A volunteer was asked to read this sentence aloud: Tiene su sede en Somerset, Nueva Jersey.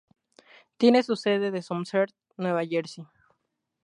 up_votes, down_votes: 0, 2